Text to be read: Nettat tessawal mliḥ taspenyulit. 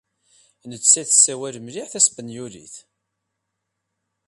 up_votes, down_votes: 2, 0